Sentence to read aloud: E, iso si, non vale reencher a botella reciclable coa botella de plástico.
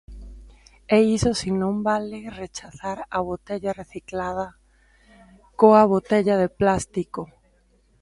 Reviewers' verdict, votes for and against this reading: rejected, 0, 2